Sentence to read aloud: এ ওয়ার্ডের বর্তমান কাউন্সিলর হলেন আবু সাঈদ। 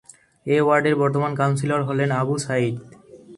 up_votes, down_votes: 2, 0